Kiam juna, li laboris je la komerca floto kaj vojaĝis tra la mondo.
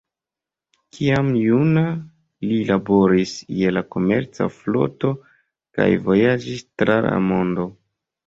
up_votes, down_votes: 1, 2